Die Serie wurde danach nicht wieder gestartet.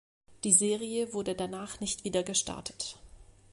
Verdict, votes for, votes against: accepted, 2, 0